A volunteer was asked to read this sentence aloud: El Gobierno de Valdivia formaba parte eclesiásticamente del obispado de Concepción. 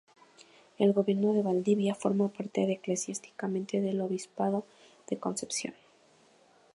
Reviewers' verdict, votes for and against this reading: rejected, 0, 2